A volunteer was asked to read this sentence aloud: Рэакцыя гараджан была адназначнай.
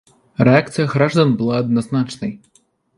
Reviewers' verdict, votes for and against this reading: rejected, 1, 2